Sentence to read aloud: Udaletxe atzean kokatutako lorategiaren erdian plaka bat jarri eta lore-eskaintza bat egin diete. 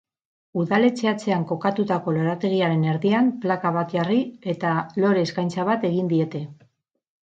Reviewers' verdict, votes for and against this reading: rejected, 2, 2